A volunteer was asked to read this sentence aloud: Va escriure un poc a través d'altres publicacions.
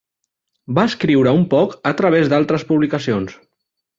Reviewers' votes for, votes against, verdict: 3, 0, accepted